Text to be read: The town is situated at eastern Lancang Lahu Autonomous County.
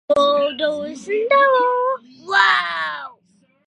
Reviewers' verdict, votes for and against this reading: rejected, 0, 2